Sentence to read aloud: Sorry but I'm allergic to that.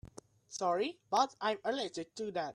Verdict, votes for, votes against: accepted, 2, 0